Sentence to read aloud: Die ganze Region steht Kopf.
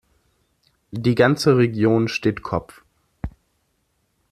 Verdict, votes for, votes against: accepted, 2, 0